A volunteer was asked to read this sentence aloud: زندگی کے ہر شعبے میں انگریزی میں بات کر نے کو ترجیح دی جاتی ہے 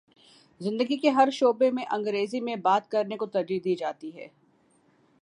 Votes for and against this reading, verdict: 0, 2, rejected